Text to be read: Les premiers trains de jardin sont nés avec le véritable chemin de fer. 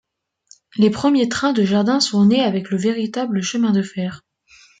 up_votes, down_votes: 2, 1